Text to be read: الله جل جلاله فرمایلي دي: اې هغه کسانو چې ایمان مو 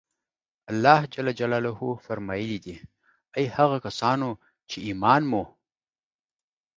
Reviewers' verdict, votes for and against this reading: accepted, 2, 0